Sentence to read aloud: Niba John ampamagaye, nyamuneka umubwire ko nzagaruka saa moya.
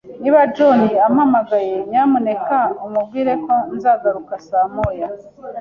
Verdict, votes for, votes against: accepted, 2, 0